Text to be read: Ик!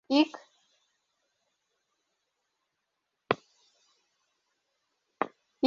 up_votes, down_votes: 2, 0